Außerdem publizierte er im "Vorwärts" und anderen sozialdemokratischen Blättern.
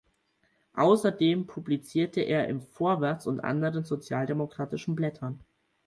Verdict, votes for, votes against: accepted, 4, 0